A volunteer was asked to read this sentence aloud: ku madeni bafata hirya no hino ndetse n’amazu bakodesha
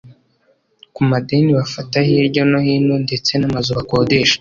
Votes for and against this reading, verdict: 2, 0, accepted